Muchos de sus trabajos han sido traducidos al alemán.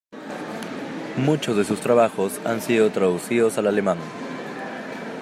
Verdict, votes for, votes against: accepted, 2, 0